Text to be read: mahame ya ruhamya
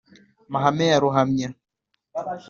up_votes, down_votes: 2, 0